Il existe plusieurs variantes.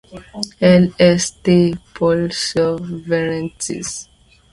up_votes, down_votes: 0, 2